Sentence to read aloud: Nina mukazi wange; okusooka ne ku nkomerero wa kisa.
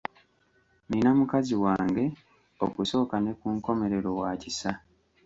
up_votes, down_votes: 1, 2